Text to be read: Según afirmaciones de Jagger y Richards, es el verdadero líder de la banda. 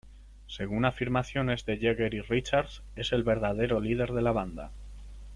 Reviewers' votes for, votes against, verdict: 2, 0, accepted